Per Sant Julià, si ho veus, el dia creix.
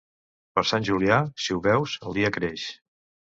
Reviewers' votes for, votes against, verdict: 2, 0, accepted